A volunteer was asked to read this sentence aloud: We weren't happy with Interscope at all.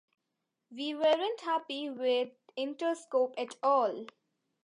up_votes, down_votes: 3, 1